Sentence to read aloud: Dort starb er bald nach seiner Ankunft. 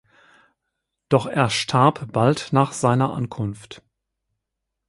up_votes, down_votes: 0, 6